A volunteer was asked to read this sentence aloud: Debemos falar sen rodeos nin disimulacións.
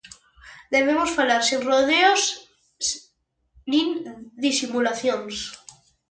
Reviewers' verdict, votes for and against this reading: rejected, 0, 2